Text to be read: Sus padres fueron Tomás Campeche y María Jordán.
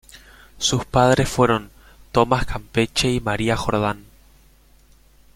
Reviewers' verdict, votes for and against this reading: accepted, 2, 0